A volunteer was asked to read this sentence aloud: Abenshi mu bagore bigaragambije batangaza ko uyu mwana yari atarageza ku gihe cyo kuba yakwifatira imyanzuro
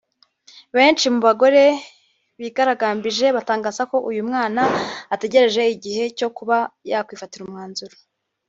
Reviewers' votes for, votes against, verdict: 1, 2, rejected